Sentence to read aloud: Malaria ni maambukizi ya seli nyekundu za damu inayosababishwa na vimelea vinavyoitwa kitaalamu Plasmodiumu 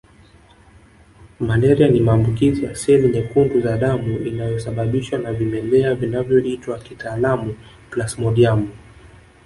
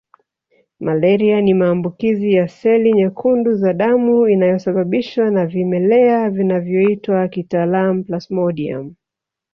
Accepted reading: second